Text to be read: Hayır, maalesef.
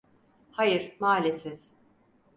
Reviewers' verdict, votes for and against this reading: accepted, 4, 0